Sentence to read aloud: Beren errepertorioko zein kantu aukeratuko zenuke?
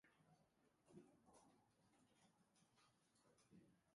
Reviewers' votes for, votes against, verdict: 0, 2, rejected